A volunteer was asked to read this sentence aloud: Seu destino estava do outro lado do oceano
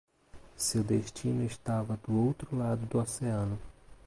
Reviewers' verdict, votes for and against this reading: accepted, 2, 0